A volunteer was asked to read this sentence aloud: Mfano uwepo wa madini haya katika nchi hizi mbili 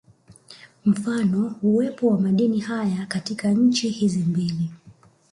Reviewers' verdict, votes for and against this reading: rejected, 0, 2